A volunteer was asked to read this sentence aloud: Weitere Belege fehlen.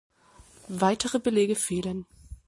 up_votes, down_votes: 2, 0